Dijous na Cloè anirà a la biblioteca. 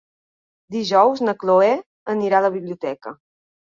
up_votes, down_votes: 2, 0